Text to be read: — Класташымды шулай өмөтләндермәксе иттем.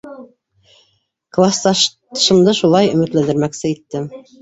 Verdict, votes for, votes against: rejected, 1, 2